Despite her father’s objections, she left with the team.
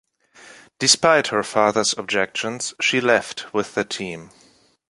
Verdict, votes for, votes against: accepted, 2, 0